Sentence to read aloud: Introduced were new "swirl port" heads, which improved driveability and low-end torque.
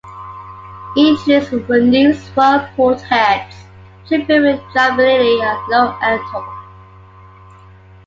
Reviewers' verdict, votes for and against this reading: accepted, 2, 1